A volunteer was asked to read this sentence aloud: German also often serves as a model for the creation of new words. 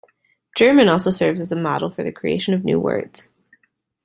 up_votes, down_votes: 0, 2